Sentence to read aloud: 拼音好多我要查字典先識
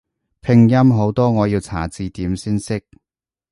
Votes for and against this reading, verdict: 2, 0, accepted